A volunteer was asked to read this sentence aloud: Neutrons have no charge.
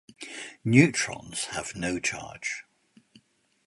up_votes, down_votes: 2, 0